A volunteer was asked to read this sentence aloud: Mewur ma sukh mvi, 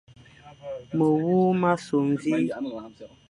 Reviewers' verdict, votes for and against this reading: accepted, 2, 0